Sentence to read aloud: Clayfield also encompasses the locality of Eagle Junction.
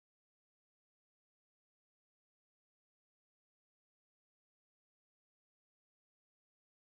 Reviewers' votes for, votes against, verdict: 1, 2, rejected